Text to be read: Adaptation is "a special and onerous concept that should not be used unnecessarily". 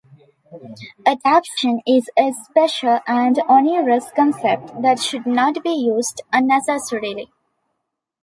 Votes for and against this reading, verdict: 0, 2, rejected